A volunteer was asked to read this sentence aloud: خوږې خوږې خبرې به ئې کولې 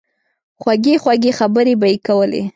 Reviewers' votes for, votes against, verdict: 2, 0, accepted